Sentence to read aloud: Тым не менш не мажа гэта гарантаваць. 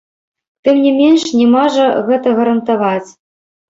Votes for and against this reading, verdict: 1, 3, rejected